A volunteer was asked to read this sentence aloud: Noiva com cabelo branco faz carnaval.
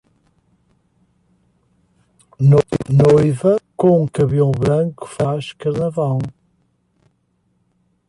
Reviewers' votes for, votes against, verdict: 1, 2, rejected